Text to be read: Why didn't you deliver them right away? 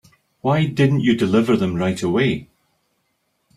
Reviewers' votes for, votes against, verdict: 4, 0, accepted